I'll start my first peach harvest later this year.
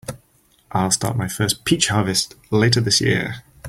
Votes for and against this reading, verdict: 4, 0, accepted